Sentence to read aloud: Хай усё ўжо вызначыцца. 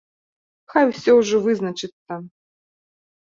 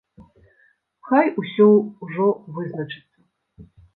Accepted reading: first